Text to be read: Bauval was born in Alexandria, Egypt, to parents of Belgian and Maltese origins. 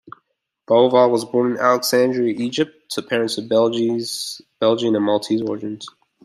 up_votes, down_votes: 0, 2